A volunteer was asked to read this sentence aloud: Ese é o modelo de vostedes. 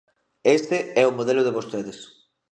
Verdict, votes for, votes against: rejected, 0, 3